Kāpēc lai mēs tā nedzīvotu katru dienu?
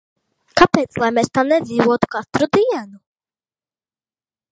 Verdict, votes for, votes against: rejected, 0, 2